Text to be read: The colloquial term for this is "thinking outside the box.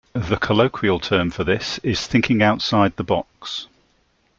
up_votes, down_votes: 2, 0